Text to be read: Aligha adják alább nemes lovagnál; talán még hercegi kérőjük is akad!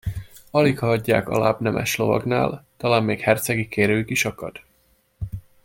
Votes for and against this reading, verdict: 2, 0, accepted